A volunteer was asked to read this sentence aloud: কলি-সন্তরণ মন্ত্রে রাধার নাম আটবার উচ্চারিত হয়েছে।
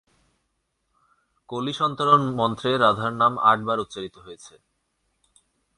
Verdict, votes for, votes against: accepted, 2, 0